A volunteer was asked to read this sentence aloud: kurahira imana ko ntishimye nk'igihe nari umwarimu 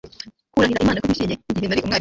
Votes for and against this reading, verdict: 0, 2, rejected